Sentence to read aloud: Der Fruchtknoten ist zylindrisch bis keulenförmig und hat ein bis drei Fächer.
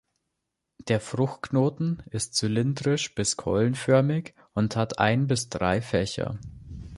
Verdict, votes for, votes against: accepted, 2, 0